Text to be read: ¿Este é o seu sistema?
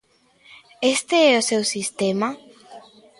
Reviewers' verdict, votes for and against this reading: accepted, 2, 0